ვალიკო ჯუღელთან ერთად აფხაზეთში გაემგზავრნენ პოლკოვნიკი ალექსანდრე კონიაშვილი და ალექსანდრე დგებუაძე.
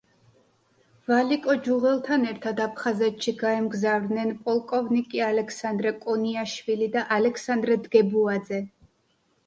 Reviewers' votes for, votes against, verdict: 2, 0, accepted